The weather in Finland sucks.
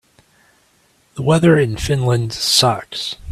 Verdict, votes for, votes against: accepted, 3, 0